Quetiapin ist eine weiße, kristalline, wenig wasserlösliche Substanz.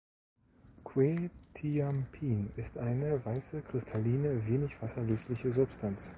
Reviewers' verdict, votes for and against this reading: rejected, 1, 2